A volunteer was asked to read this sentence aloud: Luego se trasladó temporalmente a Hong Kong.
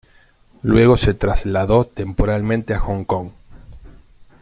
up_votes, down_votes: 2, 1